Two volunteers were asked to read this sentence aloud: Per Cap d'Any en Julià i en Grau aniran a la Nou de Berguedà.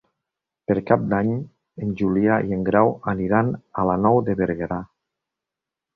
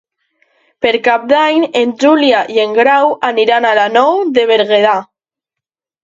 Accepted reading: first